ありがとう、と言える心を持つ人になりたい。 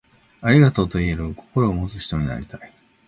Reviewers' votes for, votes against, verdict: 2, 0, accepted